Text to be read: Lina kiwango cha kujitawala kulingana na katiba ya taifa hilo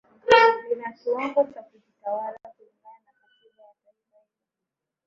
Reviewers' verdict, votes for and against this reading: rejected, 0, 2